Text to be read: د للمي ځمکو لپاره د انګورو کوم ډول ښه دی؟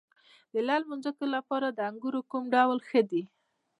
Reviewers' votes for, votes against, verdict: 1, 2, rejected